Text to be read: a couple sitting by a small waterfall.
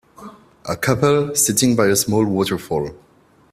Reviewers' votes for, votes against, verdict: 2, 0, accepted